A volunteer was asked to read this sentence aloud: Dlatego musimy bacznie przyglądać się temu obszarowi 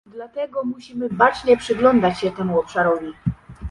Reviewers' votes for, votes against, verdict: 1, 2, rejected